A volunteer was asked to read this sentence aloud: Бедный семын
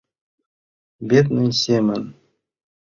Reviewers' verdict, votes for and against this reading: accepted, 2, 0